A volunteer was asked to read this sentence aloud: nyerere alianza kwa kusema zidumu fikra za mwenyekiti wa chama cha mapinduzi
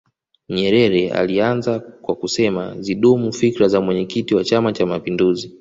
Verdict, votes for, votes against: accepted, 2, 1